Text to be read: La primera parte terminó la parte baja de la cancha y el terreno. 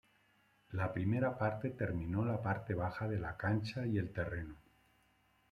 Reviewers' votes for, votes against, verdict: 2, 0, accepted